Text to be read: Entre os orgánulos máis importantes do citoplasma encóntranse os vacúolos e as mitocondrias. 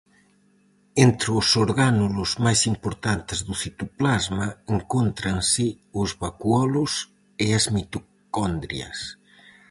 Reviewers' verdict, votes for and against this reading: rejected, 0, 4